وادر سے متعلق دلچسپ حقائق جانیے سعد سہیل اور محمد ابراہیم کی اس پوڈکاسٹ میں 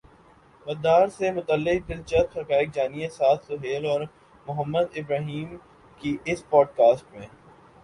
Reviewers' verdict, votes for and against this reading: accepted, 2, 0